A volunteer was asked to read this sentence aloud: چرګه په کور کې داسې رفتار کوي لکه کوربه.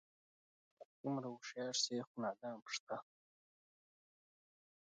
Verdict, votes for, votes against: rejected, 0, 2